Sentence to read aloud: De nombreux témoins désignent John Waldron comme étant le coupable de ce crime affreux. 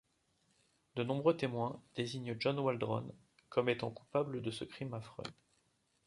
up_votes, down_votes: 1, 2